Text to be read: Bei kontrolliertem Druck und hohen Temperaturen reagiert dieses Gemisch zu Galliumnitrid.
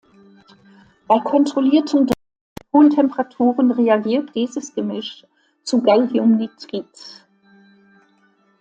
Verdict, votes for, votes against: rejected, 0, 2